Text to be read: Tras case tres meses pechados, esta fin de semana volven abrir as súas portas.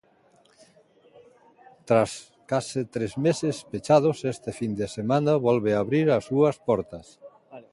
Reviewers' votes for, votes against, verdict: 0, 2, rejected